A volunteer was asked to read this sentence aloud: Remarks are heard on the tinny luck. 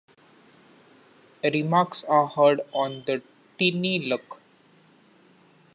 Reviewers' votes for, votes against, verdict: 2, 0, accepted